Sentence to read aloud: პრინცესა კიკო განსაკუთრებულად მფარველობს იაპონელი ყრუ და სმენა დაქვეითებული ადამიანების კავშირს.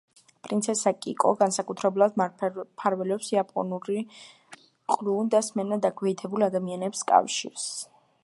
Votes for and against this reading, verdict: 1, 2, rejected